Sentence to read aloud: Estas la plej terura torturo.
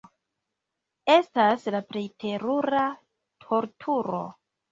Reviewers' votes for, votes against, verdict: 2, 1, accepted